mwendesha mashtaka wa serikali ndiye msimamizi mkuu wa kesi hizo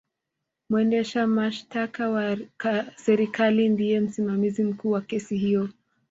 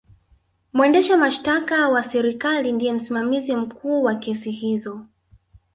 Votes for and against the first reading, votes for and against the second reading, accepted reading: 0, 2, 7, 2, second